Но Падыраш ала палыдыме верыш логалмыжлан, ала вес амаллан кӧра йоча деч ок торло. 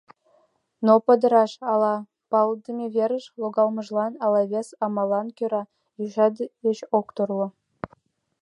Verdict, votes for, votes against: rejected, 1, 2